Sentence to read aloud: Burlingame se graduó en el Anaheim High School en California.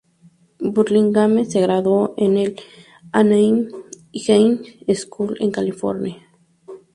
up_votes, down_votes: 0, 2